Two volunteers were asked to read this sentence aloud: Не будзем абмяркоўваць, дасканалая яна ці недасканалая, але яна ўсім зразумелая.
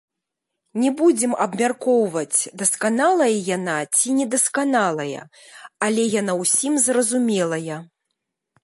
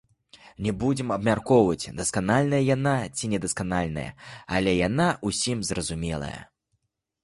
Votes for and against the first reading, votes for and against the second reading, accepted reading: 2, 0, 0, 2, first